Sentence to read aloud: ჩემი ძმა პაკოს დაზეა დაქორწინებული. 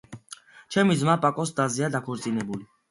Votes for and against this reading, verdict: 2, 0, accepted